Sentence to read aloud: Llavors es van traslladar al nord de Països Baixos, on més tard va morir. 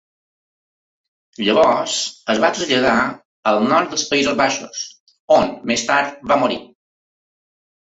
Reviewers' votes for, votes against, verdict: 1, 2, rejected